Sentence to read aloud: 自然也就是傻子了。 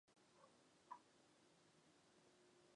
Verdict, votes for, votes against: accepted, 5, 3